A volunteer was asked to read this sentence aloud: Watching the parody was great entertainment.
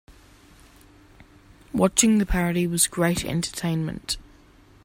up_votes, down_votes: 2, 0